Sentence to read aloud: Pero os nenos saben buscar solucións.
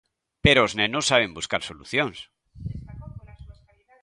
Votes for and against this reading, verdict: 0, 2, rejected